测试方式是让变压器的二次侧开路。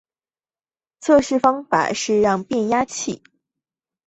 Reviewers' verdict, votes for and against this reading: rejected, 0, 5